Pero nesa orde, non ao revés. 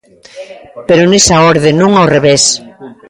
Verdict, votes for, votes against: accepted, 2, 1